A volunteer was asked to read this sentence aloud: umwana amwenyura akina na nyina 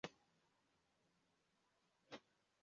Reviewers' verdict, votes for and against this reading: rejected, 0, 2